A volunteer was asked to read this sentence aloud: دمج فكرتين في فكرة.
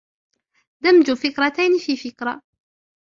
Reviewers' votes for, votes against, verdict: 1, 2, rejected